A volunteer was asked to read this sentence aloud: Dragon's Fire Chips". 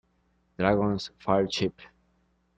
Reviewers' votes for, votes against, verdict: 0, 2, rejected